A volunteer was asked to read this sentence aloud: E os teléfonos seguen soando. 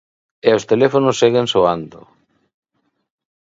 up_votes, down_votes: 2, 0